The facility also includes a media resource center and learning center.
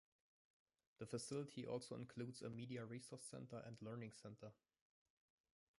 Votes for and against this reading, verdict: 0, 2, rejected